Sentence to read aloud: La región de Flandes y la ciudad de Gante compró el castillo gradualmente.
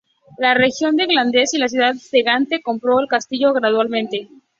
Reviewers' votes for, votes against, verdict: 0, 2, rejected